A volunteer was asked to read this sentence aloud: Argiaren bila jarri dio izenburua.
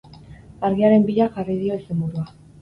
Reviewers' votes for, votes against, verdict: 2, 2, rejected